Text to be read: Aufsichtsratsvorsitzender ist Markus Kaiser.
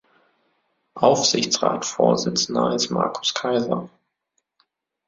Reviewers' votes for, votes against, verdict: 1, 2, rejected